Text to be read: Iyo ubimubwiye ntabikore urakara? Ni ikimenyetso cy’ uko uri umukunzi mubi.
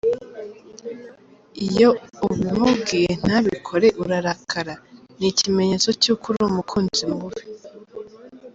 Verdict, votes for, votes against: rejected, 0, 2